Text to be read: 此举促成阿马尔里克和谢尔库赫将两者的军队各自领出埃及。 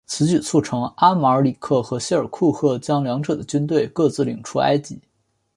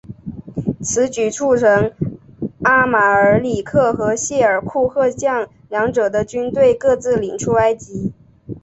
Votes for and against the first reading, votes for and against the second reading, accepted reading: 3, 0, 0, 2, first